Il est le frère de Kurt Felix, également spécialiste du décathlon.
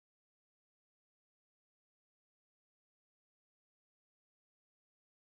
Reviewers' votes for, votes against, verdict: 0, 2, rejected